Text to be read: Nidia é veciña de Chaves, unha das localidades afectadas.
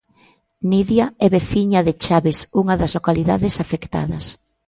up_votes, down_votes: 2, 0